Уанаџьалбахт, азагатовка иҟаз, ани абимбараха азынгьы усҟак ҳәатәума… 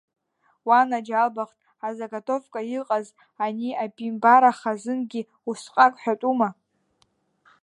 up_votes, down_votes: 2, 1